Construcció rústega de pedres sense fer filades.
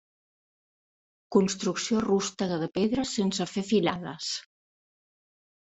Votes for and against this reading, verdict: 2, 0, accepted